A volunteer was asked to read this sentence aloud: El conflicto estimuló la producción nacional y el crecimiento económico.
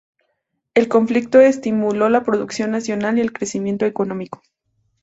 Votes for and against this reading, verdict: 2, 0, accepted